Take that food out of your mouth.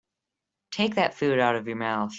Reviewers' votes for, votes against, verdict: 3, 0, accepted